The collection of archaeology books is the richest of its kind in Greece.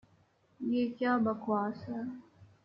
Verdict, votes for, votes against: rejected, 0, 2